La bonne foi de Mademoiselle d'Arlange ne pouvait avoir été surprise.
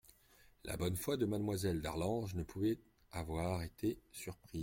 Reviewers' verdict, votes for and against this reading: rejected, 1, 2